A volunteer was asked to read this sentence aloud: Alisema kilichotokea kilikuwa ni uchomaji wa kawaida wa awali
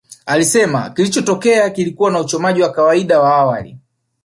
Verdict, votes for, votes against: accepted, 2, 0